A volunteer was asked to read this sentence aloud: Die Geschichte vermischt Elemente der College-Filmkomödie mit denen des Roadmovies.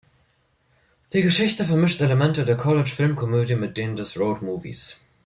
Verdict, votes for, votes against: accepted, 2, 0